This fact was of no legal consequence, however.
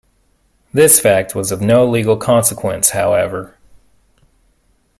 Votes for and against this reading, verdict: 3, 0, accepted